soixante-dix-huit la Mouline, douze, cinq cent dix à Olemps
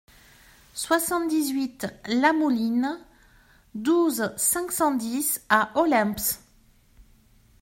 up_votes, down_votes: 2, 0